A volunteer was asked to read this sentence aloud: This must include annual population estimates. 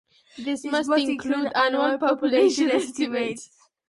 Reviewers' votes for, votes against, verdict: 0, 2, rejected